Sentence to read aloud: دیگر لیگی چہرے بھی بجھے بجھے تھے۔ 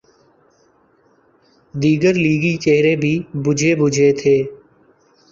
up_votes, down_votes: 2, 0